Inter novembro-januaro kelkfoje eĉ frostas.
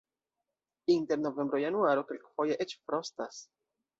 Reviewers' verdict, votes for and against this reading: rejected, 1, 2